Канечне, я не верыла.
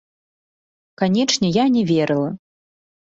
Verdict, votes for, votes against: rejected, 1, 2